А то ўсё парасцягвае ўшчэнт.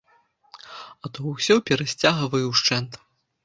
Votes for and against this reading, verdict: 0, 2, rejected